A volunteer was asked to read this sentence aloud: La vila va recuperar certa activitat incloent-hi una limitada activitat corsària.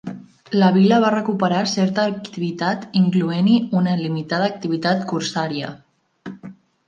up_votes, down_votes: 1, 2